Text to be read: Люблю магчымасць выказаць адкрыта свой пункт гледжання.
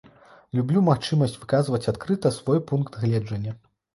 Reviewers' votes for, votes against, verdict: 0, 2, rejected